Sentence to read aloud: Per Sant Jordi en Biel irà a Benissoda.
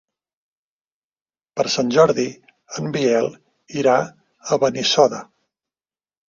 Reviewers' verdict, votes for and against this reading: accepted, 2, 0